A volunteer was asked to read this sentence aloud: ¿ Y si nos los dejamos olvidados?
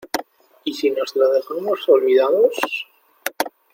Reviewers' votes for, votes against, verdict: 2, 0, accepted